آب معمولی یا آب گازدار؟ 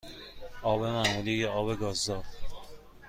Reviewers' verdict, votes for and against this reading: accepted, 2, 0